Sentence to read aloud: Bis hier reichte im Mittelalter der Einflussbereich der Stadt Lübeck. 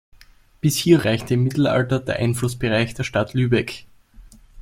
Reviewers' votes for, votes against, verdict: 2, 0, accepted